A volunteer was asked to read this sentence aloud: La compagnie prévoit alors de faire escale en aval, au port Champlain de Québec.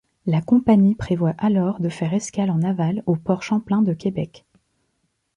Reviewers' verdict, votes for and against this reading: accepted, 2, 0